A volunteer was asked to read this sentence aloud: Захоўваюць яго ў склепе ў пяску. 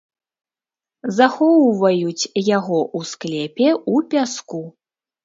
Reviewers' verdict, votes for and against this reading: accepted, 2, 0